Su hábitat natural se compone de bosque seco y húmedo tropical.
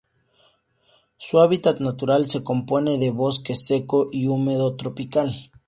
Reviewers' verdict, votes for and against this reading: rejected, 0, 2